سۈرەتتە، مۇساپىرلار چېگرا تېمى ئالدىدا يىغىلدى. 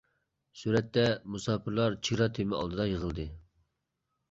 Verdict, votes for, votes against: accepted, 2, 1